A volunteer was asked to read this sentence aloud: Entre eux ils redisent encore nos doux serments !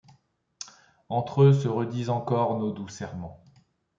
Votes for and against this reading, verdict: 0, 2, rejected